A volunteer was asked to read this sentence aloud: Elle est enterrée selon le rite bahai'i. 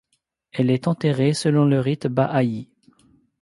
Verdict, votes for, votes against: accepted, 2, 0